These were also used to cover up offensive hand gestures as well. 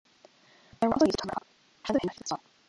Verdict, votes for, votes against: rejected, 0, 2